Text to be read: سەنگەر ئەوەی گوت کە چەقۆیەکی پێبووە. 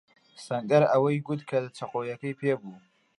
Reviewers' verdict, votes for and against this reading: rejected, 0, 2